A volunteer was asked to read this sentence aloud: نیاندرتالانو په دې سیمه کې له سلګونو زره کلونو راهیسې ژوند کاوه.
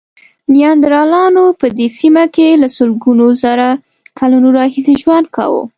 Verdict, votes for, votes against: rejected, 1, 2